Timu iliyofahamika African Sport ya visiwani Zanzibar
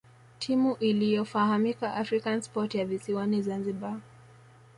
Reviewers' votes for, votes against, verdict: 2, 0, accepted